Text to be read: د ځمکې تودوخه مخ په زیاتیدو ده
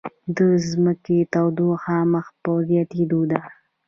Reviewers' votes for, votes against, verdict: 1, 2, rejected